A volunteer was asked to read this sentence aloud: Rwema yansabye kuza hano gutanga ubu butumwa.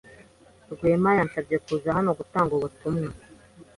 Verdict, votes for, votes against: accepted, 2, 0